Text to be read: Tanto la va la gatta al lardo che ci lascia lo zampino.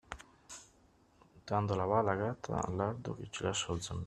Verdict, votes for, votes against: rejected, 0, 2